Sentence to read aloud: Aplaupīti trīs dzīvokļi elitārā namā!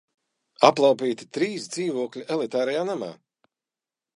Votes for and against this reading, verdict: 0, 2, rejected